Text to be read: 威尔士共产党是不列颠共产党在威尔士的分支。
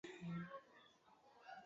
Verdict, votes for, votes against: rejected, 0, 2